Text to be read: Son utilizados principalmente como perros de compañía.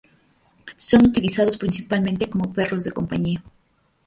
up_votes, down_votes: 2, 0